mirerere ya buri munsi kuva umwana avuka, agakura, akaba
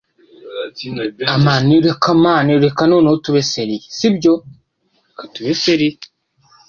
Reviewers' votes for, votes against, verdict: 0, 2, rejected